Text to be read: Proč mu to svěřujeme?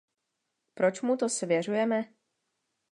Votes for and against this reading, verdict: 2, 0, accepted